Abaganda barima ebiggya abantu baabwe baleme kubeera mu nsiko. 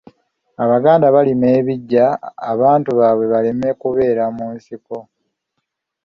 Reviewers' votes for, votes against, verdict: 2, 0, accepted